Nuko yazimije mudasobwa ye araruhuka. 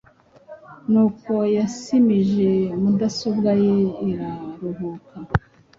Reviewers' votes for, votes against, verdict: 0, 2, rejected